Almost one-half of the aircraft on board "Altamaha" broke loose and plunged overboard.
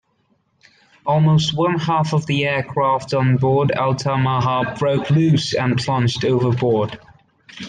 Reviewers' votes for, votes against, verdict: 2, 0, accepted